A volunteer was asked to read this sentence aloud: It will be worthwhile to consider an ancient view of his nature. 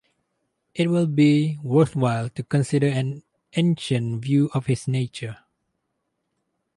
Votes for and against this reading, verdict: 4, 0, accepted